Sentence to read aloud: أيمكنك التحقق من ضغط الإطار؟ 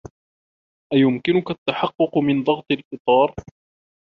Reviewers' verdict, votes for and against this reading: accepted, 2, 0